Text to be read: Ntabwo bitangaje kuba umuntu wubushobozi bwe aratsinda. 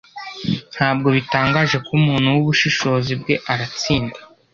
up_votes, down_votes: 0, 2